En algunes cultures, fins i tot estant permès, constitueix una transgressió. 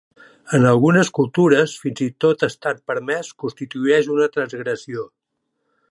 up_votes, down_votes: 1, 2